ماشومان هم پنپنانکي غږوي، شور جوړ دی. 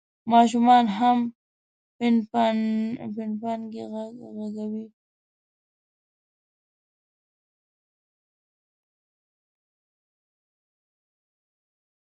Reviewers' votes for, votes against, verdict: 1, 2, rejected